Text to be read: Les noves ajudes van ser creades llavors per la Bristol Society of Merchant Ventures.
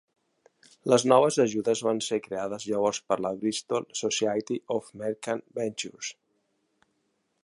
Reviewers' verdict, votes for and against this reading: accepted, 3, 0